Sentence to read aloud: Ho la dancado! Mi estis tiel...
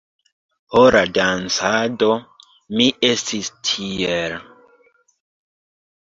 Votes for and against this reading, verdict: 0, 2, rejected